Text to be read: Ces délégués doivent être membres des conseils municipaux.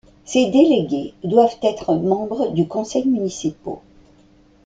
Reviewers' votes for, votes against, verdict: 1, 2, rejected